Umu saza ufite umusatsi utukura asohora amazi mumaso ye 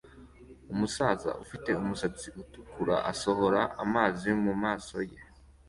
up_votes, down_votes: 2, 0